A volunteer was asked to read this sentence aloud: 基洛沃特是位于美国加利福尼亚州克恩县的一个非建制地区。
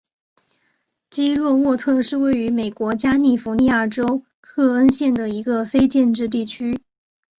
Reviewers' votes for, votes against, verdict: 2, 0, accepted